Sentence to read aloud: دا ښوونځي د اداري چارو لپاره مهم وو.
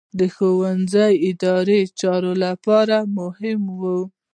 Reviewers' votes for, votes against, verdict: 1, 2, rejected